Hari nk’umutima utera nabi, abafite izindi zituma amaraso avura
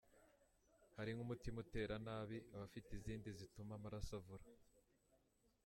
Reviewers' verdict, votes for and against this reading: accepted, 3, 1